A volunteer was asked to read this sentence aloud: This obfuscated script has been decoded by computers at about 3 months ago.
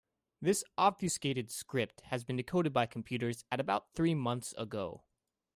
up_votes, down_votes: 0, 2